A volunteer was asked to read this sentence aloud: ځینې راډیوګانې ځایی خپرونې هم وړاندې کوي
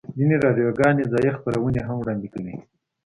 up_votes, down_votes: 2, 0